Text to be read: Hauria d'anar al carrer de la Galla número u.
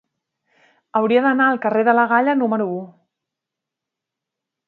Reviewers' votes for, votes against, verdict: 4, 0, accepted